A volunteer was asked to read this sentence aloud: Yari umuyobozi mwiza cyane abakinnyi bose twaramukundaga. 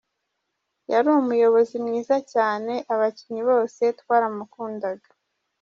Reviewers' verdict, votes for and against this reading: rejected, 1, 2